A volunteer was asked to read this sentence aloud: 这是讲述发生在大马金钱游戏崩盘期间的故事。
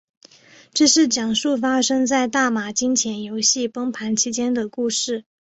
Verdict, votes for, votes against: accepted, 3, 1